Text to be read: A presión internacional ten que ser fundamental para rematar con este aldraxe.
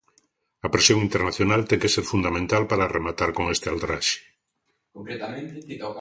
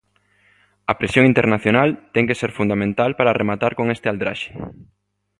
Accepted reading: second